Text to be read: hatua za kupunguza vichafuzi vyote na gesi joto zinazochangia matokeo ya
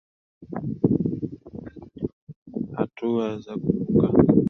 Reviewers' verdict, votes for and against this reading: rejected, 0, 2